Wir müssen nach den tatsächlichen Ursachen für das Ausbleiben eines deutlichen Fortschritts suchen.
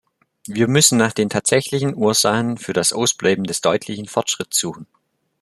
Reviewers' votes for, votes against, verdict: 0, 2, rejected